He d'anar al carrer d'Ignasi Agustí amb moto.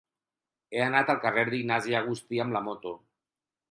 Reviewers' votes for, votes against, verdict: 0, 4, rejected